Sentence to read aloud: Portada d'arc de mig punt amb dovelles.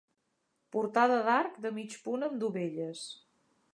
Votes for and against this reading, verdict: 4, 0, accepted